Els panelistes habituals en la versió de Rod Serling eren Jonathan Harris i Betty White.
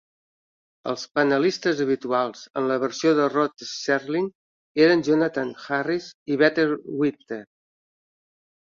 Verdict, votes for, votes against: rejected, 0, 2